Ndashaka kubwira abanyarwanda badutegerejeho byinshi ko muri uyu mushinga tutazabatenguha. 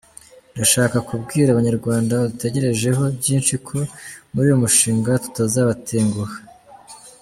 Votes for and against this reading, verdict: 2, 0, accepted